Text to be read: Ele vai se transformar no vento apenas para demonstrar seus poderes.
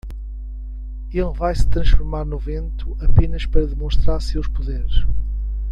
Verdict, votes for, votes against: accepted, 2, 0